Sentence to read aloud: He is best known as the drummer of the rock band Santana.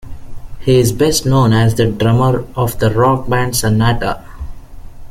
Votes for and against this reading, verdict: 1, 2, rejected